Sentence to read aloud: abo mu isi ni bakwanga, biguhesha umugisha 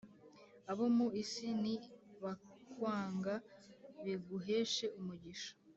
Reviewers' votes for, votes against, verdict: 1, 2, rejected